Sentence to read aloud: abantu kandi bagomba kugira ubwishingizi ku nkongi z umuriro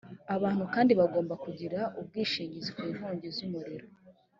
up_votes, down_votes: 2, 0